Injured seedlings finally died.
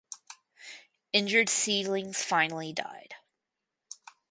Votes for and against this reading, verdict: 4, 0, accepted